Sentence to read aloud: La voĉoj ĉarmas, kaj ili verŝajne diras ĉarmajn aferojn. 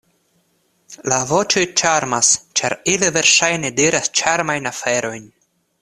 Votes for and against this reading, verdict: 1, 2, rejected